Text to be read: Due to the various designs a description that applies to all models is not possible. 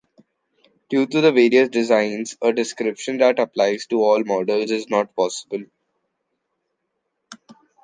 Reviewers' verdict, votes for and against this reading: rejected, 1, 2